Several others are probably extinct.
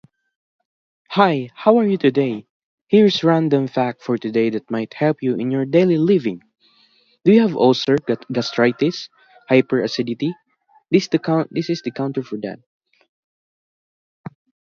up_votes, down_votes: 0, 2